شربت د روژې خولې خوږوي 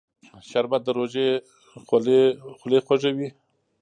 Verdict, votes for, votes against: rejected, 1, 2